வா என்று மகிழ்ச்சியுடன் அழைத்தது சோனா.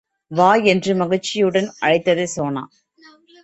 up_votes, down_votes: 2, 0